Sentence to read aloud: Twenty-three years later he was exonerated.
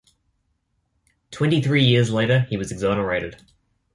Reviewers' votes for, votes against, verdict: 2, 0, accepted